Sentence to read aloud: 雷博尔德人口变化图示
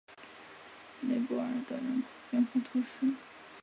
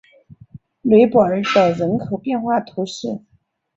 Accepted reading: second